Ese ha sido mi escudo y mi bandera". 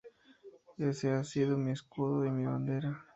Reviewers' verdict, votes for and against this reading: accepted, 2, 0